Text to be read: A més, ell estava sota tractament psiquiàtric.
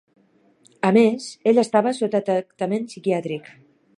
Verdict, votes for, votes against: rejected, 0, 4